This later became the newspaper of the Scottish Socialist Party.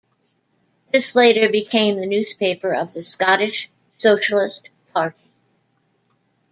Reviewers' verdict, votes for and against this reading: rejected, 1, 2